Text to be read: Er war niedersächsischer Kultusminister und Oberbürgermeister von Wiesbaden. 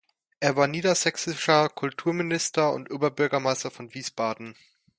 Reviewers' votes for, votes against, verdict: 0, 2, rejected